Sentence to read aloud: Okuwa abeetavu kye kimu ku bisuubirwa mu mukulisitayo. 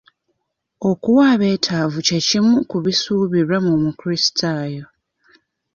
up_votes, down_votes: 2, 1